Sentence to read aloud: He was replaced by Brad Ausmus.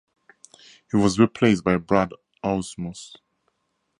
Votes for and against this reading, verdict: 2, 0, accepted